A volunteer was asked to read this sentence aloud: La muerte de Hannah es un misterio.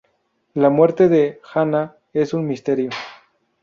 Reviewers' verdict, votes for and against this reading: rejected, 0, 2